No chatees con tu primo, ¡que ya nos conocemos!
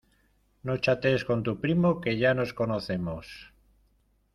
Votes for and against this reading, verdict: 0, 2, rejected